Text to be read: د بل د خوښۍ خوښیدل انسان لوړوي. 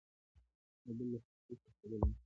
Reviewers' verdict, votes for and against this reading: rejected, 0, 2